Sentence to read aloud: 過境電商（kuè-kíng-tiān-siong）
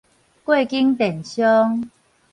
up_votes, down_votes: 4, 0